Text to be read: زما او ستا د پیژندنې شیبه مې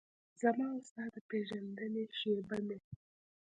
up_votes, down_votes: 2, 0